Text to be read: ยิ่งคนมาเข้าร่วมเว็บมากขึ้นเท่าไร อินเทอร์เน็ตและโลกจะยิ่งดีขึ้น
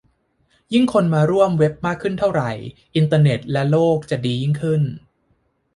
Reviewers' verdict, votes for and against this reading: rejected, 0, 3